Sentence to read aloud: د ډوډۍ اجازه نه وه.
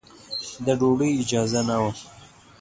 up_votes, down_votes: 0, 2